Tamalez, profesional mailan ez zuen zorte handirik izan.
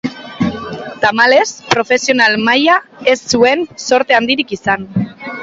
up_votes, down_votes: 0, 2